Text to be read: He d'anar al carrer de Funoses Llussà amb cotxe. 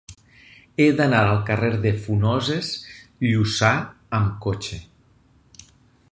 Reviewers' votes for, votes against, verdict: 4, 0, accepted